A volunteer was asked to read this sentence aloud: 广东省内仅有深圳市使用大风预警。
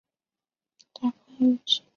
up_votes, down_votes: 0, 3